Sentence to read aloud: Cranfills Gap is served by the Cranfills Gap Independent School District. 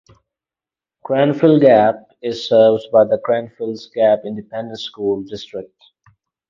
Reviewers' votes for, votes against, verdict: 0, 4, rejected